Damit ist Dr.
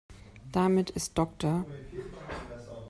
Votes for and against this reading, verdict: 0, 2, rejected